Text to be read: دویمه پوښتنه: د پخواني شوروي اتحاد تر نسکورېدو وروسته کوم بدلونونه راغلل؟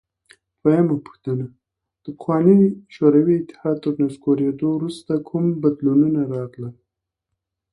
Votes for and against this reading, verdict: 0, 2, rejected